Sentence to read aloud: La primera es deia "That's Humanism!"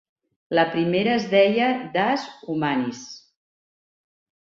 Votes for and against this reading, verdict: 1, 2, rejected